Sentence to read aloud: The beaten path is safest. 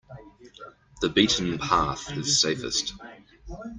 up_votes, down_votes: 2, 1